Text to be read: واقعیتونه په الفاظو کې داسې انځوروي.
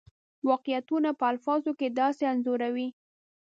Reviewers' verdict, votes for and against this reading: accepted, 2, 0